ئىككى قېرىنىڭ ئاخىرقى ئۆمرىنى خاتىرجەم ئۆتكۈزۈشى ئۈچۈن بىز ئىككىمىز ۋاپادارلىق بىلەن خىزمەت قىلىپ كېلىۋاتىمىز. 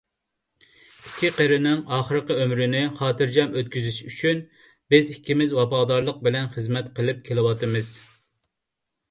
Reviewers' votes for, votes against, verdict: 2, 0, accepted